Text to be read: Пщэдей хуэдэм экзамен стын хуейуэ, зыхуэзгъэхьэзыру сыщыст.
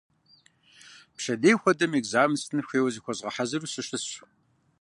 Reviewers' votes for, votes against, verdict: 1, 2, rejected